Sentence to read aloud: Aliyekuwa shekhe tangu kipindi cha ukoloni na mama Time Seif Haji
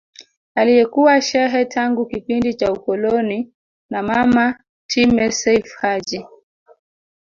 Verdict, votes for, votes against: rejected, 1, 3